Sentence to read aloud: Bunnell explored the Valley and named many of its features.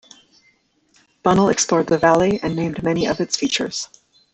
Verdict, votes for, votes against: accepted, 2, 1